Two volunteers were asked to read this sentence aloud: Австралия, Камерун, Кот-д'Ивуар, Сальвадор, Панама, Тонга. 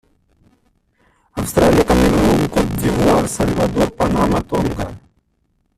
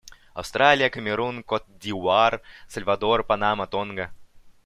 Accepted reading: second